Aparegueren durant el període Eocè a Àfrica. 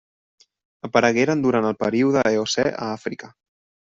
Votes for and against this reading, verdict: 3, 0, accepted